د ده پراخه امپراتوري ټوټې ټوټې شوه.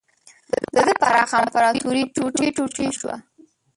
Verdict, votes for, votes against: rejected, 1, 2